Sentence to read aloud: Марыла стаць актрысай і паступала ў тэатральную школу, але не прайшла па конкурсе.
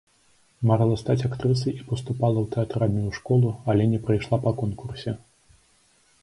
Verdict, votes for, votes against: accepted, 2, 0